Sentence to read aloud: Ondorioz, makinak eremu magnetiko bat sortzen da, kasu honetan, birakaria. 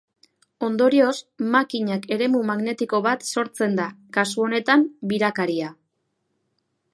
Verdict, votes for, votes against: rejected, 0, 2